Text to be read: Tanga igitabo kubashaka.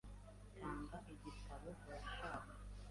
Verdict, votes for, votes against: rejected, 1, 2